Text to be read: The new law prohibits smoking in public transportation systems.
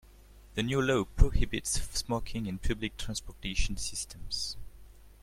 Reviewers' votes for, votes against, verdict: 0, 2, rejected